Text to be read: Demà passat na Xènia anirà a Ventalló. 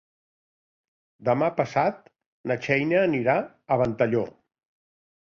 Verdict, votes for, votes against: rejected, 1, 2